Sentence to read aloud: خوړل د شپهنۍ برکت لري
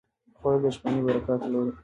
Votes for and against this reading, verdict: 1, 2, rejected